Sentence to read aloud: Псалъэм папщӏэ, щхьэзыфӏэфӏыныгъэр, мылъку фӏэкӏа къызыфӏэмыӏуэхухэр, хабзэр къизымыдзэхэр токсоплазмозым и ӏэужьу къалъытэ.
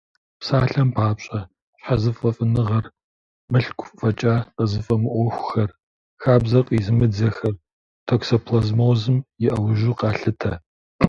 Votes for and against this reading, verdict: 2, 0, accepted